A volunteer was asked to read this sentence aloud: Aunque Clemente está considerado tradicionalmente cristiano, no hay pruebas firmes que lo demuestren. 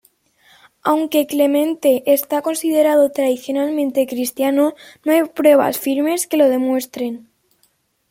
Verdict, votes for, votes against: accepted, 2, 1